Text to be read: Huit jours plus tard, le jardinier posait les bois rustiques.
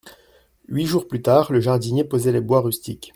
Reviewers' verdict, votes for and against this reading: accepted, 2, 0